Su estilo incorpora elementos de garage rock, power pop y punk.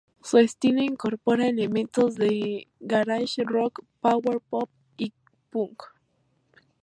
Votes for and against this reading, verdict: 0, 2, rejected